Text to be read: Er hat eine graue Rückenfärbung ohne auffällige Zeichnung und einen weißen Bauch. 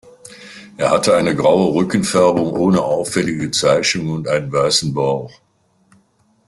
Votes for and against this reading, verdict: 0, 2, rejected